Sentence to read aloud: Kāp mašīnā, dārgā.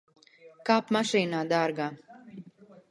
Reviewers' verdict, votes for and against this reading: rejected, 1, 2